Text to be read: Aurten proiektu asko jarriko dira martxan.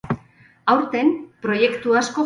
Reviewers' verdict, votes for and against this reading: rejected, 2, 2